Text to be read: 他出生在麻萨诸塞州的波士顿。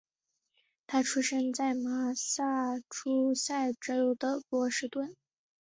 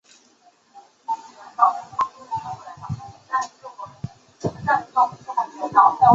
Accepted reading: first